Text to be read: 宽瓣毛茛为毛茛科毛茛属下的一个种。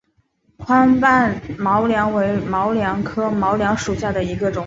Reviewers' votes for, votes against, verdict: 3, 1, accepted